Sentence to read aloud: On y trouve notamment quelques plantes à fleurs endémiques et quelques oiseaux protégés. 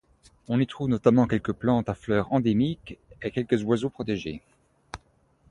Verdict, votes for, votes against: accepted, 2, 0